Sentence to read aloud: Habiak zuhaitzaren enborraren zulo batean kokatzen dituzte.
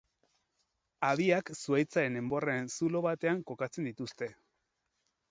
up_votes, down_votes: 4, 0